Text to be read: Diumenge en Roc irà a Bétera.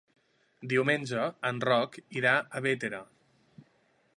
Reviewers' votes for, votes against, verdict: 3, 1, accepted